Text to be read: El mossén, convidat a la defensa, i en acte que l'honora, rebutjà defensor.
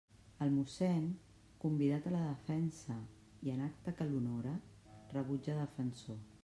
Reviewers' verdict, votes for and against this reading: rejected, 1, 2